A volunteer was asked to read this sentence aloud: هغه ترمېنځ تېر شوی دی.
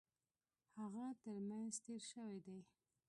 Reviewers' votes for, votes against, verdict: 2, 0, accepted